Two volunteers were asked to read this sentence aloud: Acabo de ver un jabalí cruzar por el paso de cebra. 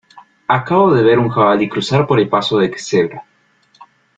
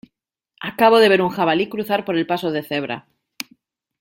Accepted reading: second